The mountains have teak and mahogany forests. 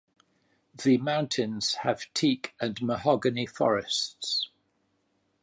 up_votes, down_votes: 2, 1